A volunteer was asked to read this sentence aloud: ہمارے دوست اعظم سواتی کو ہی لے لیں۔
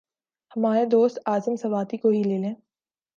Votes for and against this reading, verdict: 2, 0, accepted